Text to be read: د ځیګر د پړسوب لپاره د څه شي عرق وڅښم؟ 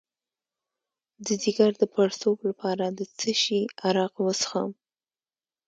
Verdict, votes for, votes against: rejected, 1, 2